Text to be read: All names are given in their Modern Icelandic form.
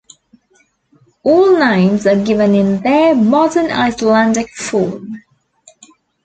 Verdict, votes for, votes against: accepted, 3, 0